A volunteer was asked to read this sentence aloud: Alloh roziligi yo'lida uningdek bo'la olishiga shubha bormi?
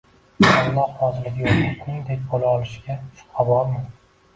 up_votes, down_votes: 0, 2